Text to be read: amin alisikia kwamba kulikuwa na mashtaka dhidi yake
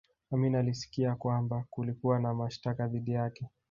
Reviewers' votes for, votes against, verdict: 1, 2, rejected